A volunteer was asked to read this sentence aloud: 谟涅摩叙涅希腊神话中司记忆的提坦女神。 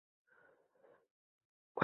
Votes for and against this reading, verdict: 1, 4, rejected